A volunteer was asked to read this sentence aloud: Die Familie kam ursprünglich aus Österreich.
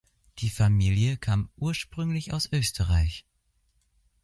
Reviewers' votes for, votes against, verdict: 2, 0, accepted